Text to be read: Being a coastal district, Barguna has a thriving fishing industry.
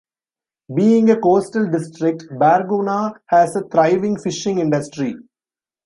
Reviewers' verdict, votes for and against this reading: accepted, 2, 0